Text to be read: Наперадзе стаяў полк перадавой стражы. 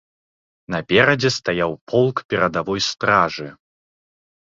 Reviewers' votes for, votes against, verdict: 2, 0, accepted